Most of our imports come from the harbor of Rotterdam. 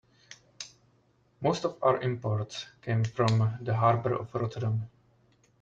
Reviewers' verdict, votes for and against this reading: rejected, 0, 2